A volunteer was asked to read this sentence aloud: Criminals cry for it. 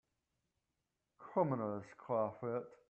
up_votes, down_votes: 0, 2